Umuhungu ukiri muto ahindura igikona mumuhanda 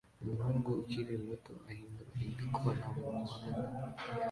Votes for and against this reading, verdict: 1, 2, rejected